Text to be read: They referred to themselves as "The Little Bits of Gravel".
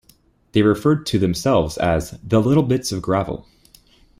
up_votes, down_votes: 2, 0